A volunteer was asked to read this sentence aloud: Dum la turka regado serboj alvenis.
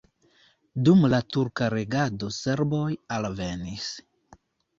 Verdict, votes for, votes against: accepted, 2, 0